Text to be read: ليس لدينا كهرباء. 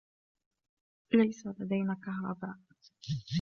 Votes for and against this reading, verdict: 0, 2, rejected